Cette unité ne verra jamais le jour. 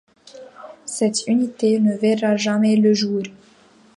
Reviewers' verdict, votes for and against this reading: accepted, 2, 0